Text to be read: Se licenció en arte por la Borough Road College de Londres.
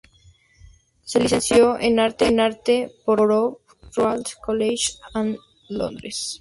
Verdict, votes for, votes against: rejected, 0, 4